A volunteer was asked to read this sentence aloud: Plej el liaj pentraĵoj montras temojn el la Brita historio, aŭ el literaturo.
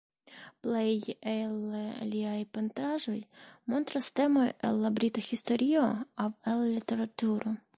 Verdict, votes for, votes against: rejected, 1, 2